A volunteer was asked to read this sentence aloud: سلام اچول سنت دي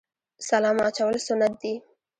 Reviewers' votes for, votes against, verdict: 2, 1, accepted